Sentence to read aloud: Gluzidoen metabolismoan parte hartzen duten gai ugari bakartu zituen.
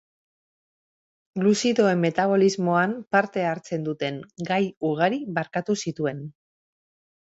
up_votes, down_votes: 1, 2